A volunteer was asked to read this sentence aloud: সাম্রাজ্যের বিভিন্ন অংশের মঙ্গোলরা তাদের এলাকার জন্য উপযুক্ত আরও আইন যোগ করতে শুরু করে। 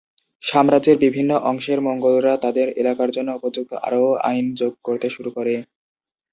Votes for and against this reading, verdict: 2, 0, accepted